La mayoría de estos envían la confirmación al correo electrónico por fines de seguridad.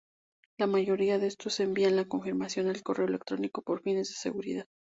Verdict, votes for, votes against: accepted, 2, 0